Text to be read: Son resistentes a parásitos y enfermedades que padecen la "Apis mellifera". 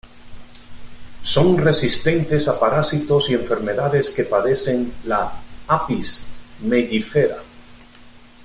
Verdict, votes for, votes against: accepted, 2, 0